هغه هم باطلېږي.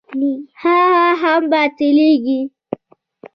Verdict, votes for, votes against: accepted, 2, 1